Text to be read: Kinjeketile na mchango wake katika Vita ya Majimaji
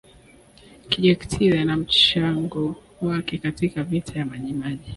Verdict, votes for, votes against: rejected, 0, 2